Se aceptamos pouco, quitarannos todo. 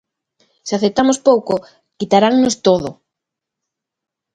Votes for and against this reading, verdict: 2, 0, accepted